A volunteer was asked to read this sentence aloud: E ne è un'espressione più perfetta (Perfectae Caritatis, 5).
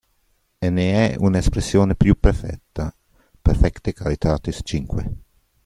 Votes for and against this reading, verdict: 0, 2, rejected